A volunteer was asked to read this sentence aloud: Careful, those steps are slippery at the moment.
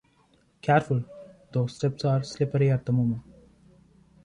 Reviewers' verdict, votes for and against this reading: accepted, 2, 0